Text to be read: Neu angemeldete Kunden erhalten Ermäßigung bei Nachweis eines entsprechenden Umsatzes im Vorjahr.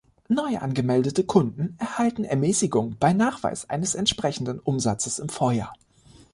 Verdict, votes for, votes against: accepted, 2, 0